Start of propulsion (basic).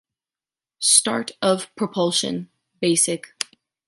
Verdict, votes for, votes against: accepted, 2, 1